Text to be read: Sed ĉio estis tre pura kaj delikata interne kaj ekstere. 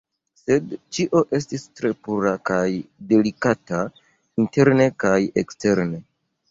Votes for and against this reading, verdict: 1, 2, rejected